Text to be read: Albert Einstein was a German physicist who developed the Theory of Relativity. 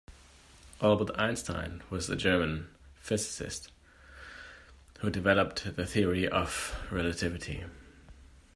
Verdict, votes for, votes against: accepted, 2, 1